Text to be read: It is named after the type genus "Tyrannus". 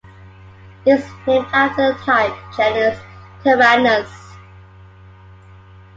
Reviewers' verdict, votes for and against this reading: accepted, 2, 1